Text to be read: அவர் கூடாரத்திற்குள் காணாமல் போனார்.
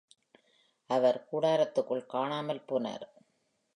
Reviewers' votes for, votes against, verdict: 2, 0, accepted